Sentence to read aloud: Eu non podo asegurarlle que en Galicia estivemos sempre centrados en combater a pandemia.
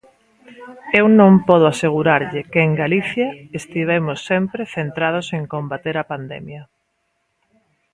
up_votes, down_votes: 1, 2